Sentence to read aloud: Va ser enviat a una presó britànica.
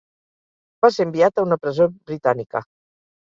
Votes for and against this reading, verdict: 2, 0, accepted